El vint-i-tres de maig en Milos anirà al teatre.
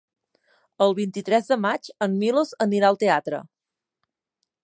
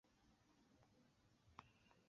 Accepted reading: first